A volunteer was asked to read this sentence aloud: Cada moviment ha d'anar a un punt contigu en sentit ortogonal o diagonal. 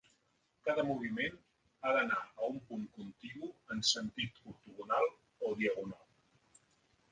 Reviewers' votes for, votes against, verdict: 3, 0, accepted